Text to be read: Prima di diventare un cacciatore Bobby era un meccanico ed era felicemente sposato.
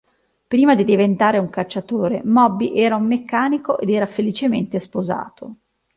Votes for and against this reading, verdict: 1, 2, rejected